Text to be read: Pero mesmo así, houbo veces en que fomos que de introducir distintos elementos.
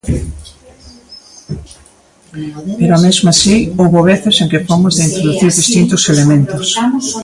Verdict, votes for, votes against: rejected, 2, 3